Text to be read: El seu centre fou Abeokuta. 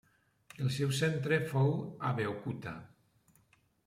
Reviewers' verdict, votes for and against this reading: rejected, 0, 2